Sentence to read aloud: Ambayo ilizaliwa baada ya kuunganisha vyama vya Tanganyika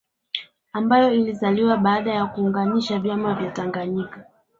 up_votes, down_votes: 3, 1